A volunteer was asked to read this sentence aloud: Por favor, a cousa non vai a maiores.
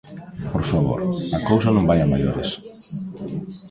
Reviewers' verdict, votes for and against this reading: accepted, 2, 0